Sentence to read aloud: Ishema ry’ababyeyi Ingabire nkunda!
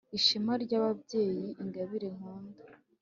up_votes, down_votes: 2, 0